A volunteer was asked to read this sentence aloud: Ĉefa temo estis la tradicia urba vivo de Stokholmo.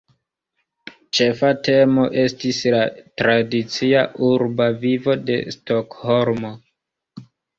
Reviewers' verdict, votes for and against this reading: rejected, 1, 2